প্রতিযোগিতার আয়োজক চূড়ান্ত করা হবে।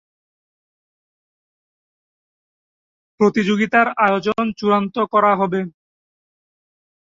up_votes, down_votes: 0, 15